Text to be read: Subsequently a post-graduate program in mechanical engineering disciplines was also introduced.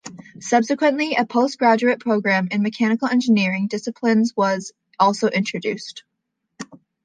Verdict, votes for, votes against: accepted, 2, 0